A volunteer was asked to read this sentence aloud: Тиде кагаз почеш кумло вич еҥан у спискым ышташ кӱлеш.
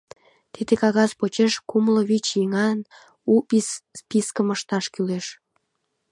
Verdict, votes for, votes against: rejected, 1, 2